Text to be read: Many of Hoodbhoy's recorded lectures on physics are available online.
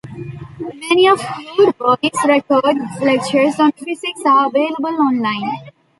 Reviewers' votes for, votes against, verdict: 0, 2, rejected